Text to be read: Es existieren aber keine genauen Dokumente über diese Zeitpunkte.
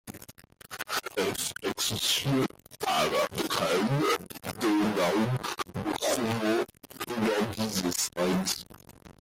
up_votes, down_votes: 0, 2